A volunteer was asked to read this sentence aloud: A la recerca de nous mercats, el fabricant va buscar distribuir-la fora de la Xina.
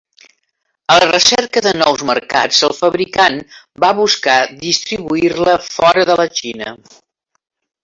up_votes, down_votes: 3, 1